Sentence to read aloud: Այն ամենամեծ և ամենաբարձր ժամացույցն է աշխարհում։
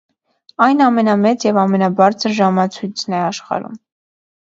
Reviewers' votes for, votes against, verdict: 2, 0, accepted